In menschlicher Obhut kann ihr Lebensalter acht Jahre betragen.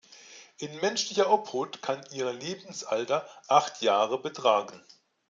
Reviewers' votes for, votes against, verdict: 2, 0, accepted